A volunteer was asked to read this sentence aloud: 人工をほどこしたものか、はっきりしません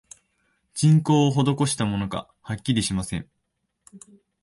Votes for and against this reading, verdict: 4, 0, accepted